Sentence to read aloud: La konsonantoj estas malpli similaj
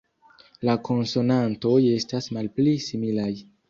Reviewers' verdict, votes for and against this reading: rejected, 0, 2